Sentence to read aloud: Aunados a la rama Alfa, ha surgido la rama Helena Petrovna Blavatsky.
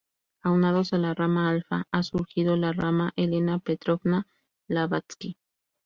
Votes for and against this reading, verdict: 0, 2, rejected